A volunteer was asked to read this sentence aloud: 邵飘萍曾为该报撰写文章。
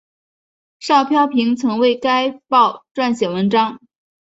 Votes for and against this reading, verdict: 2, 1, accepted